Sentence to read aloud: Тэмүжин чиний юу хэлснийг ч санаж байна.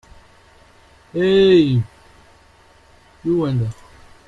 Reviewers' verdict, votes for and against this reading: rejected, 0, 2